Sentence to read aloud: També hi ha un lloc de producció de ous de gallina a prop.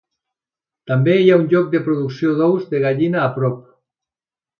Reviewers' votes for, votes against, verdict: 3, 0, accepted